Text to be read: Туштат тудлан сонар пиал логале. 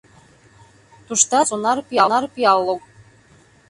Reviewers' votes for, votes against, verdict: 0, 2, rejected